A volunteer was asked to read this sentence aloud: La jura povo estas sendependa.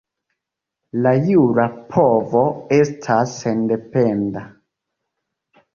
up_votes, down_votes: 2, 1